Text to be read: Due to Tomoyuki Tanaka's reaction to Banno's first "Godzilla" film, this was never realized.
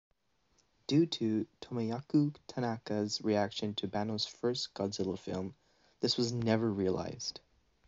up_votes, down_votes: 2, 0